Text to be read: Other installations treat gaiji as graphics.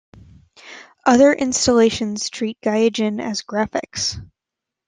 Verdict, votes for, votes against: rejected, 1, 2